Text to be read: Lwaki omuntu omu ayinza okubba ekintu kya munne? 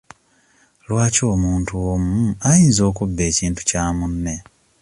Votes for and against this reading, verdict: 2, 0, accepted